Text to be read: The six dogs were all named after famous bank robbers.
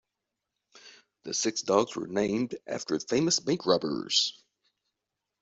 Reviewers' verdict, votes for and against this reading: rejected, 0, 3